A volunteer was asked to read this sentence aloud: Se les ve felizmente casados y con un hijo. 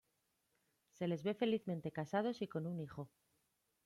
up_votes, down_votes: 1, 2